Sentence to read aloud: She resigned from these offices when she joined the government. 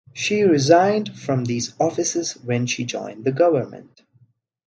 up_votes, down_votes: 0, 2